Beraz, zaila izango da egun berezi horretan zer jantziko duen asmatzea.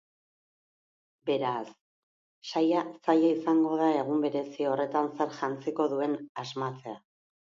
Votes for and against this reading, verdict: 0, 2, rejected